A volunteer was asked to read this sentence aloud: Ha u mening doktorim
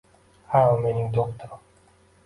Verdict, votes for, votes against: accepted, 2, 1